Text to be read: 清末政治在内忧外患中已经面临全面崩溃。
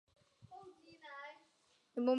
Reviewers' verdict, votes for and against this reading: rejected, 0, 2